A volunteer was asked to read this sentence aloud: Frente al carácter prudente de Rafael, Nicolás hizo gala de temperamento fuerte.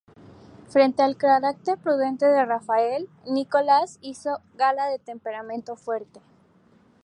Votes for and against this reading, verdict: 0, 2, rejected